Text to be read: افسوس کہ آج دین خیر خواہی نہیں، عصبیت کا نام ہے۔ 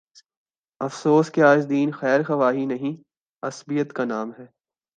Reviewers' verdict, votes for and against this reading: accepted, 2, 0